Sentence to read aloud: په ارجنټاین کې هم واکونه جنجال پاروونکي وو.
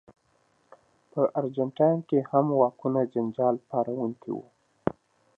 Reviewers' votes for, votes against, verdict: 2, 0, accepted